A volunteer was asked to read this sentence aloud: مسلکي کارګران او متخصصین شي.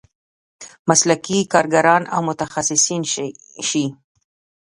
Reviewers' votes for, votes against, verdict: 1, 2, rejected